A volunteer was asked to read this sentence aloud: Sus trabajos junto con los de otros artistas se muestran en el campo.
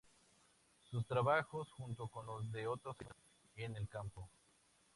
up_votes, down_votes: 0, 2